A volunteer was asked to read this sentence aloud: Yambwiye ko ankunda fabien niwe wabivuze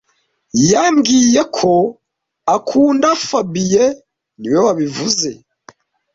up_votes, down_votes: 1, 2